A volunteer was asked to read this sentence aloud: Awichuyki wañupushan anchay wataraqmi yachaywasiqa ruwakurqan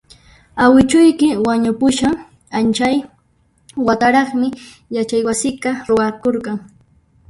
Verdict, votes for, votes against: rejected, 0, 2